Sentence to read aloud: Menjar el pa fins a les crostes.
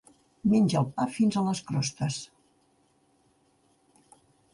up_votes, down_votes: 1, 2